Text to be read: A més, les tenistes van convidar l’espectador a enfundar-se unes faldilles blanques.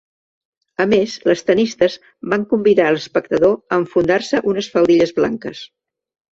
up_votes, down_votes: 1, 2